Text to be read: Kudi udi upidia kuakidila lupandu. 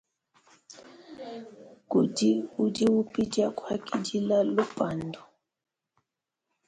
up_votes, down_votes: 2, 0